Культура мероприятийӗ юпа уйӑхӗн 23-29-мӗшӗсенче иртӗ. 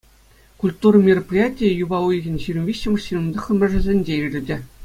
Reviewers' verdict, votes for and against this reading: rejected, 0, 2